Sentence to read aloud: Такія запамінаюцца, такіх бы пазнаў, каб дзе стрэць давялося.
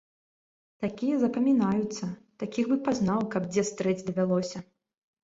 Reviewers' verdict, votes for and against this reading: accepted, 2, 0